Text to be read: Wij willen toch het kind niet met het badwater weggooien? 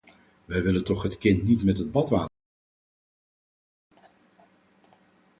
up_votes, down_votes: 0, 4